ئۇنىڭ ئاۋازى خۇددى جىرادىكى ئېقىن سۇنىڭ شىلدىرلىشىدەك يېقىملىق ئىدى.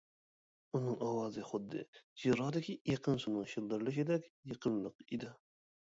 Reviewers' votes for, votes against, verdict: 0, 2, rejected